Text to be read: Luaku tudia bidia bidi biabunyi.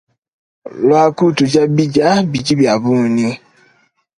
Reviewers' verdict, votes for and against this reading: accepted, 3, 1